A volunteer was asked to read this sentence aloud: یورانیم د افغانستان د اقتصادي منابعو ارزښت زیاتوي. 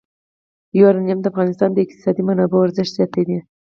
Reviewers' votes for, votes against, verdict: 4, 0, accepted